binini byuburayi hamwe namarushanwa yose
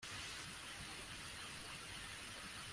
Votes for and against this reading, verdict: 1, 2, rejected